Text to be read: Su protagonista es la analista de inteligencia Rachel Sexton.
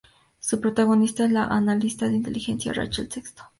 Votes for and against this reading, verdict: 2, 0, accepted